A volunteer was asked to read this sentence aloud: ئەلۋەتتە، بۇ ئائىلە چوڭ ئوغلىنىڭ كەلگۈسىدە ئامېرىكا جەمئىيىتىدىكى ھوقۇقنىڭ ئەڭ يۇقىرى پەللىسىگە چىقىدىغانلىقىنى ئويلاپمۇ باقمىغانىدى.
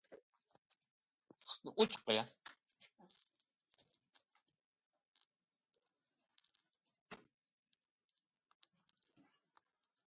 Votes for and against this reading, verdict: 0, 2, rejected